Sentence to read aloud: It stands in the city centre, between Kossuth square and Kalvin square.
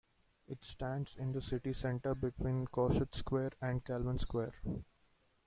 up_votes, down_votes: 2, 1